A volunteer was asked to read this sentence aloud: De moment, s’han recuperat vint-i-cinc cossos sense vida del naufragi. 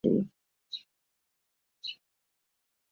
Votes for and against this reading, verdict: 0, 2, rejected